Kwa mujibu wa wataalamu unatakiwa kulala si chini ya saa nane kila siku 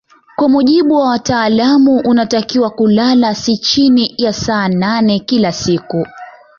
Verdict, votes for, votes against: accepted, 2, 0